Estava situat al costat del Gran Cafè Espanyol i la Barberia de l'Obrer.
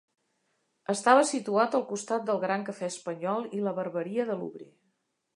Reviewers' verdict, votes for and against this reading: accepted, 2, 0